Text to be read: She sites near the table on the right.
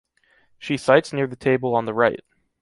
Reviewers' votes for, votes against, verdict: 2, 0, accepted